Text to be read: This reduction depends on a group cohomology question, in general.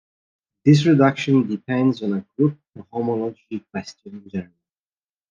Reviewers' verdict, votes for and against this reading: rejected, 1, 2